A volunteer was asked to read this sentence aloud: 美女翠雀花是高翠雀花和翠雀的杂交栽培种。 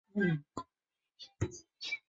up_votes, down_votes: 1, 3